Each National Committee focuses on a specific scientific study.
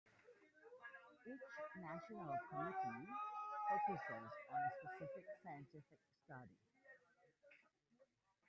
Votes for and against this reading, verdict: 0, 2, rejected